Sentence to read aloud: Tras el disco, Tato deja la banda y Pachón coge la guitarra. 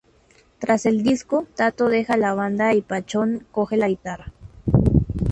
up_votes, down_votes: 2, 0